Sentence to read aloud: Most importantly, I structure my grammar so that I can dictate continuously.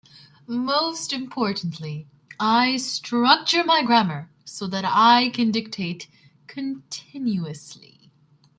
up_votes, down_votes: 2, 0